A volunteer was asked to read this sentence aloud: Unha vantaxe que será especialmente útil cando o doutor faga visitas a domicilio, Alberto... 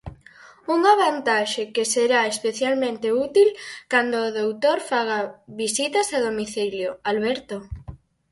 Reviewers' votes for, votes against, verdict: 4, 0, accepted